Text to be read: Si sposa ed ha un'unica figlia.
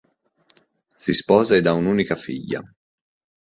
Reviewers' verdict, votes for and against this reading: accepted, 2, 0